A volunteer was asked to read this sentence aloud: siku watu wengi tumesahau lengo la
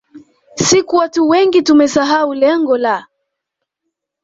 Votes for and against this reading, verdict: 1, 2, rejected